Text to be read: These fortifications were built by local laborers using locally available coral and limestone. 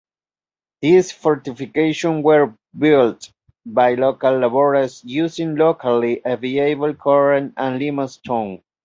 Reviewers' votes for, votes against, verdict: 1, 2, rejected